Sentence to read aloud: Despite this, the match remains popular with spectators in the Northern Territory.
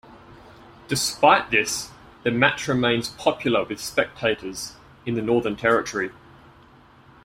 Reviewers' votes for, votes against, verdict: 2, 0, accepted